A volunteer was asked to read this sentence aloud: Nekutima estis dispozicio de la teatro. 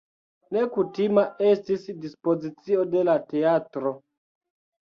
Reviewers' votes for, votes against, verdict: 2, 0, accepted